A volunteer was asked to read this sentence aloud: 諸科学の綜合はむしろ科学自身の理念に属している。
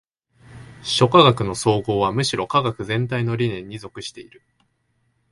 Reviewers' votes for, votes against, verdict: 1, 2, rejected